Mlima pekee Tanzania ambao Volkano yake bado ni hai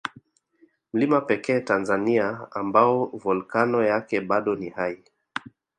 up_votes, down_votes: 2, 0